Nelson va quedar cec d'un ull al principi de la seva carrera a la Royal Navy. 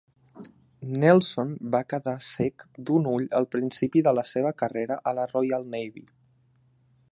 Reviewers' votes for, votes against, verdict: 2, 0, accepted